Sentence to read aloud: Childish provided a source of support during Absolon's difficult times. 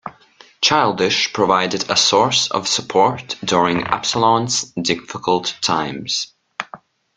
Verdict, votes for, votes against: accepted, 2, 0